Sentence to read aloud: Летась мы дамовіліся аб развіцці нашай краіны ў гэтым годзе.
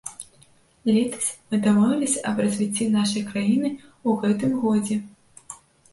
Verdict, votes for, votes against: rejected, 1, 2